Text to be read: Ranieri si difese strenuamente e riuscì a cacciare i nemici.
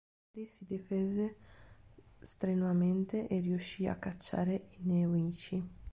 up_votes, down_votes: 0, 2